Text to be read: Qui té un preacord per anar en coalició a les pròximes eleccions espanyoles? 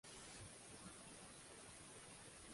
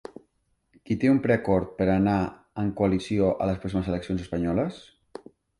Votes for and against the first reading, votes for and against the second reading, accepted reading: 0, 2, 2, 0, second